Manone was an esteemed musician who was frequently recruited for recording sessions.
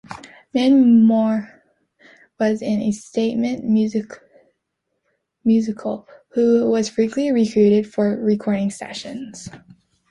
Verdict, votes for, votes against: rejected, 0, 2